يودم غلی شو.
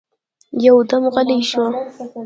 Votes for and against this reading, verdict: 0, 2, rejected